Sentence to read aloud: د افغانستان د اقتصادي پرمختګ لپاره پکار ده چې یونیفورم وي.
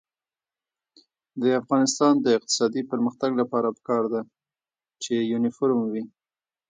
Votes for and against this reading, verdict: 0, 2, rejected